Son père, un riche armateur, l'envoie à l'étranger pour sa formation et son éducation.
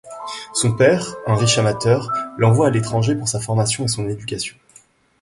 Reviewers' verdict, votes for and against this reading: rejected, 1, 2